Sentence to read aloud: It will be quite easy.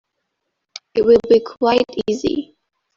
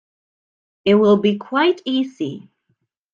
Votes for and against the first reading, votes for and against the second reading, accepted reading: 0, 2, 2, 0, second